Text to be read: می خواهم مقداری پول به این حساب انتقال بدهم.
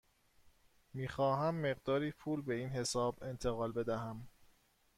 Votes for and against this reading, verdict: 2, 0, accepted